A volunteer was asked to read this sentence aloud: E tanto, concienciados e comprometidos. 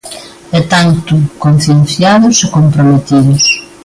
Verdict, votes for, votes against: accepted, 2, 0